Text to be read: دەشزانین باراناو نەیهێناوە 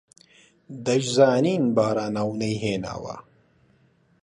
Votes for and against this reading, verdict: 2, 0, accepted